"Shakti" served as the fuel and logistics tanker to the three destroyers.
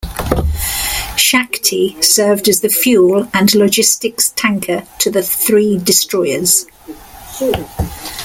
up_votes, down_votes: 2, 0